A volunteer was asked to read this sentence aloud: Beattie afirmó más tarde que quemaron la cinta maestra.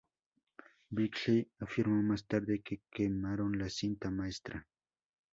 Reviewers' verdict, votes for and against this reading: rejected, 0, 2